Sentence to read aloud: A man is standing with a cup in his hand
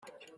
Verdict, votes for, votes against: rejected, 0, 2